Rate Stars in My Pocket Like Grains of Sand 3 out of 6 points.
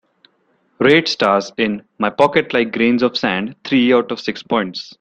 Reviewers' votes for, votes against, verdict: 0, 2, rejected